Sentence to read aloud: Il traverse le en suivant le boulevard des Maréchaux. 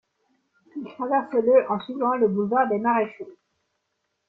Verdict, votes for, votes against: accepted, 2, 0